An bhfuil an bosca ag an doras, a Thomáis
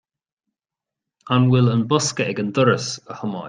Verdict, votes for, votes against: rejected, 0, 2